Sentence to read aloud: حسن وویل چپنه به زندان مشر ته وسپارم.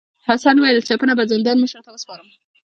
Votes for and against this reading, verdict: 3, 1, accepted